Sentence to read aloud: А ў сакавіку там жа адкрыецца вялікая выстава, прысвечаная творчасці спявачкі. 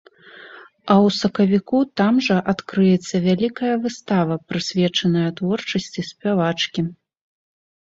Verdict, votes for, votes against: accepted, 2, 0